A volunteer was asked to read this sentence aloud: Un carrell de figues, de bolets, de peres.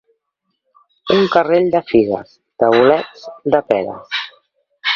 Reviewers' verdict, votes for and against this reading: accepted, 2, 1